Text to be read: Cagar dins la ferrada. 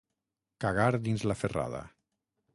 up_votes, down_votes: 6, 0